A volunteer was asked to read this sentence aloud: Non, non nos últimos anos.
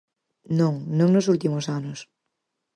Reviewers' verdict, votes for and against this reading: accepted, 4, 0